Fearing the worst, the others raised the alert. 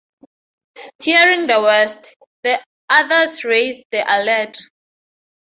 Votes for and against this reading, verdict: 2, 0, accepted